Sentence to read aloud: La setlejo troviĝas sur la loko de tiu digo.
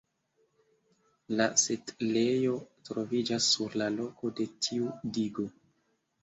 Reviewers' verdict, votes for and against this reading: accepted, 2, 1